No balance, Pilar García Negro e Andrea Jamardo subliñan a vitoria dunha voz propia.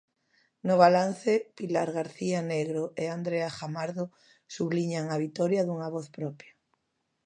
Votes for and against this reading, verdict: 2, 0, accepted